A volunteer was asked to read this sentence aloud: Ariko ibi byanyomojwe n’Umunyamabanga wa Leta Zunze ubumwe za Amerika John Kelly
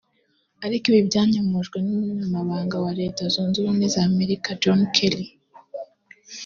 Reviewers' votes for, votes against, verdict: 2, 0, accepted